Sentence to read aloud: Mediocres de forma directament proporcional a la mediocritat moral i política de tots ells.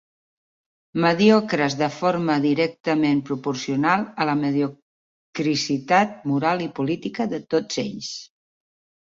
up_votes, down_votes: 1, 2